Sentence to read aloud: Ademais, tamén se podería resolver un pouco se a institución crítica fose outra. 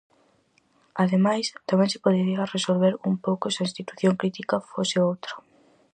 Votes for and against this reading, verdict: 2, 2, rejected